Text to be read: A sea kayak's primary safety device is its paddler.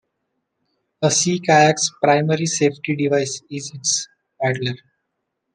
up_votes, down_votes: 2, 0